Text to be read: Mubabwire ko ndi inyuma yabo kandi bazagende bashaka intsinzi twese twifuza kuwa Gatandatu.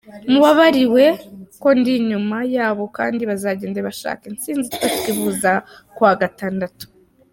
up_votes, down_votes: 0, 2